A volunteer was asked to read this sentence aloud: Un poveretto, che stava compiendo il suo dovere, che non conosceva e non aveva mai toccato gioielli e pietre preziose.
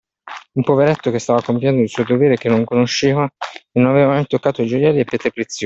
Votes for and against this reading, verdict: 1, 2, rejected